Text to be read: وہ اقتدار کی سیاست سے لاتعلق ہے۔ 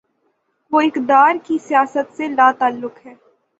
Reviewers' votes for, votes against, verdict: 6, 0, accepted